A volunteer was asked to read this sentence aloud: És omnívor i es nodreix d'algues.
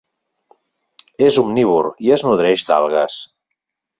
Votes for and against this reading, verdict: 8, 0, accepted